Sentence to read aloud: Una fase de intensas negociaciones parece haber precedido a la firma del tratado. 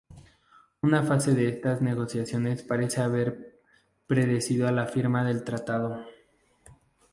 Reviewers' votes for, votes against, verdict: 0, 2, rejected